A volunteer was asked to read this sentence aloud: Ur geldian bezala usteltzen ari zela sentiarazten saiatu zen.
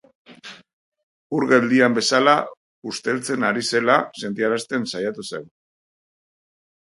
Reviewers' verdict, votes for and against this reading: accepted, 4, 0